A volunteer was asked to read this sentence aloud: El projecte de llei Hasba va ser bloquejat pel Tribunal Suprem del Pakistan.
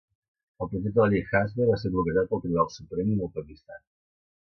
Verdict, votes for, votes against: rejected, 0, 2